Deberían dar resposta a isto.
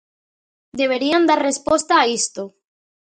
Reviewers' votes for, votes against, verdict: 2, 0, accepted